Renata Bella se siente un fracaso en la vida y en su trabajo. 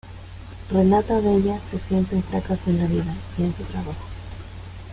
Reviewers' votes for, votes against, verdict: 0, 2, rejected